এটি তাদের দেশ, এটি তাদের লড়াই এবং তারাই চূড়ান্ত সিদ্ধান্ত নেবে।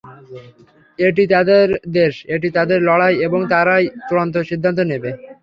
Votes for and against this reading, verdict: 3, 0, accepted